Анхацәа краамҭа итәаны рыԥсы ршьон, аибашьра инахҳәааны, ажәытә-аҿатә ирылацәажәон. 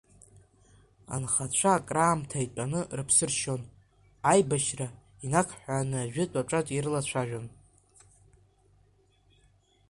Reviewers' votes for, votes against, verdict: 0, 2, rejected